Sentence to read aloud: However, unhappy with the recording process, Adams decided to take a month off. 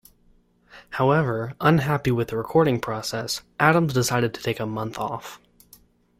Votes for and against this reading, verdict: 2, 0, accepted